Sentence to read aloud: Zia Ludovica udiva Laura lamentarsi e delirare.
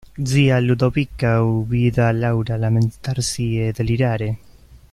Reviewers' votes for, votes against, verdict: 1, 2, rejected